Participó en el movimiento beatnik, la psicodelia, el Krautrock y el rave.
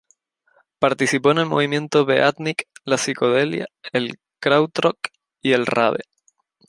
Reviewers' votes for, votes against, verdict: 2, 2, rejected